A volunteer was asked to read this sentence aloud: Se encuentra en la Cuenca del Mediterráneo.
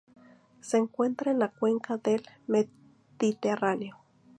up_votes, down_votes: 2, 0